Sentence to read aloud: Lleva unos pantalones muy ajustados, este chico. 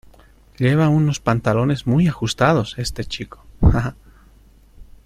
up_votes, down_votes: 1, 2